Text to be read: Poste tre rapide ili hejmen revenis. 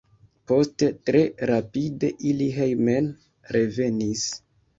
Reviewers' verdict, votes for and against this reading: accepted, 3, 0